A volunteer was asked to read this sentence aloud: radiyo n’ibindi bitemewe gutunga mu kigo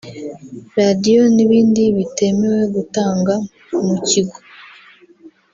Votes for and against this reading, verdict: 0, 2, rejected